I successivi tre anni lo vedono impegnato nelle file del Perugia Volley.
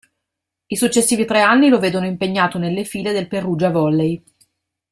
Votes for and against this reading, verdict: 2, 0, accepted